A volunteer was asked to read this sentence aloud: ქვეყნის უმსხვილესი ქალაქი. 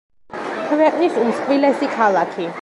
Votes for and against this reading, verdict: 2, 0, accepted